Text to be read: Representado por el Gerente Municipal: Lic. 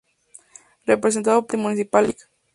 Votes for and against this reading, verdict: 0, 2, rejected